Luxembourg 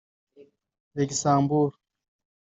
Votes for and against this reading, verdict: 1, 2, rejected